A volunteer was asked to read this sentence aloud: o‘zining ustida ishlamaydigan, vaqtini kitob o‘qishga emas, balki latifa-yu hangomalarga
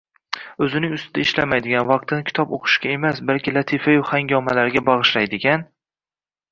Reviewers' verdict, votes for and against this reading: rejected, 0, 2